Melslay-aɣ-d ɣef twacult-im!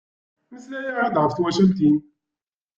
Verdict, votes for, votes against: rejected, 1, 2